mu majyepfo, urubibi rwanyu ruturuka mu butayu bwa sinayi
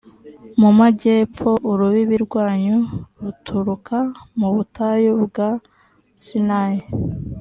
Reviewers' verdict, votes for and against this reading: accepted, 2, 0